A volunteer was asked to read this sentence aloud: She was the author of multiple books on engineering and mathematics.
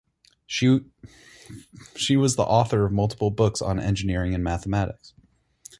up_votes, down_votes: 0, 4